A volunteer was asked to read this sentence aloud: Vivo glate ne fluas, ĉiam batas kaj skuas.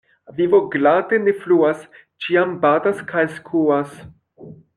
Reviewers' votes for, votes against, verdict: 2, 0, accepted